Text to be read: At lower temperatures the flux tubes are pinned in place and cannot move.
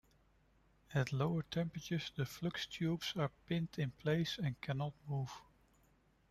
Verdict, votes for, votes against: accepted, 2, 1